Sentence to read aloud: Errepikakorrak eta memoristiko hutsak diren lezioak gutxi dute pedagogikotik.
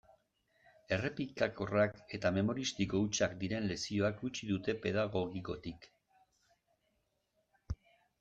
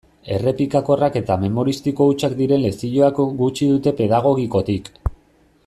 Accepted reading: first